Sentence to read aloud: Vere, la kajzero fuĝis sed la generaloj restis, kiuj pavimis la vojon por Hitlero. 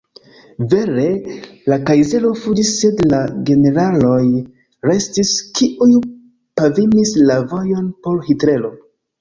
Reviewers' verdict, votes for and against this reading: accepted, 2, 1